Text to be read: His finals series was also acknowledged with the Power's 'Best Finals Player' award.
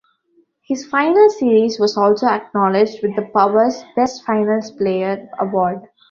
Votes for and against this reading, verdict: 2, 0, accepted